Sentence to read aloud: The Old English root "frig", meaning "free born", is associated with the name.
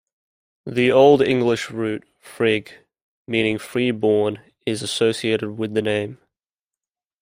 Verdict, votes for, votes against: accepted, 2, 0